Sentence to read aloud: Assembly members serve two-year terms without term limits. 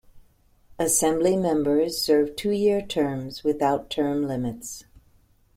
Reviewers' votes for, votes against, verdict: 0, 2, rejected